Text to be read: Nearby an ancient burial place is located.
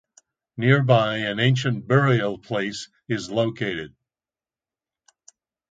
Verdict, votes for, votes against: accepted, 2, 0